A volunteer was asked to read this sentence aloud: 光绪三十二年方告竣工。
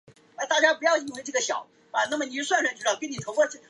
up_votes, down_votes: 0, 4